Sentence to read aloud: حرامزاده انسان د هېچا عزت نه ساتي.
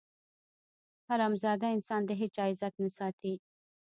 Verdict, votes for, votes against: rejected, 1, 2